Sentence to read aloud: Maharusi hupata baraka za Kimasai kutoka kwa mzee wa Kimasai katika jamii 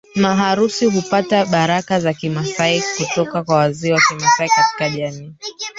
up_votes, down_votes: 1, 3